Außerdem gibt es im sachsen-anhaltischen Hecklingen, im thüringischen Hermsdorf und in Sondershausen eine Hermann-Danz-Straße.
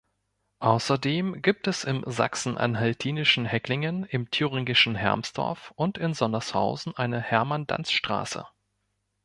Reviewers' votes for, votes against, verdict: 1, 2, rejected